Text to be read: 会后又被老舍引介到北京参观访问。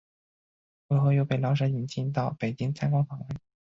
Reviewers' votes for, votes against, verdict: 2, 3, rejected